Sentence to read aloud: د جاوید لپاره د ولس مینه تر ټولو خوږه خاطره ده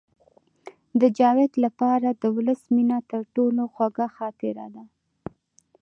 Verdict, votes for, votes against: accepted, 2, 0